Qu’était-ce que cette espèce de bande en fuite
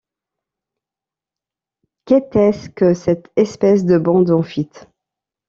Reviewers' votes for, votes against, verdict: 1, 2, rejected